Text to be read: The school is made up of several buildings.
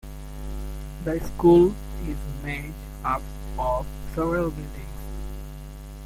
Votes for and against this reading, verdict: 1, 2, rejected